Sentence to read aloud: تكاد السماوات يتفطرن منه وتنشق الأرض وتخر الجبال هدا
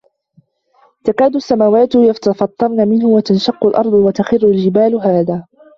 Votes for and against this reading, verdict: 1, 2, rejected